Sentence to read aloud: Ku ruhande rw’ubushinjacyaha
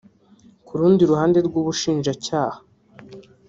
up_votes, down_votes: 1, 2